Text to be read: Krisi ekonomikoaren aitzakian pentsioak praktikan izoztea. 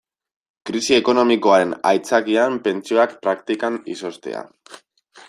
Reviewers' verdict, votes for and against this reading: accepted, 2, 0